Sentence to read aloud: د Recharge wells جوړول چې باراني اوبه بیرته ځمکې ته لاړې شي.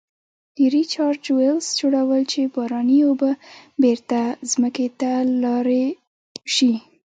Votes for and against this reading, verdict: 1, 2, rejected